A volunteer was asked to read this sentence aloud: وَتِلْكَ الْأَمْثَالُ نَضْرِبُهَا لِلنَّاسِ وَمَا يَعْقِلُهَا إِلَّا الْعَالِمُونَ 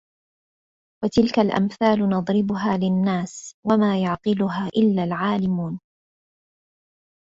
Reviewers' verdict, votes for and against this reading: accepted, 2, 1